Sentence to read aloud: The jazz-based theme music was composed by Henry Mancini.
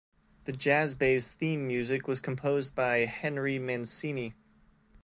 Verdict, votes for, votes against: accepted, 2, 0